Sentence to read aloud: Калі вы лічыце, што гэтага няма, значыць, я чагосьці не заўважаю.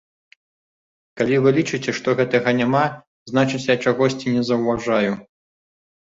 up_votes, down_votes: 2, 0